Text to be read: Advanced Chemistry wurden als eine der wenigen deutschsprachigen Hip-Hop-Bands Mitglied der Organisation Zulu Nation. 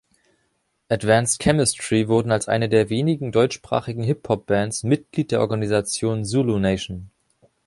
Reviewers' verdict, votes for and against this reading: accepted, 2, 0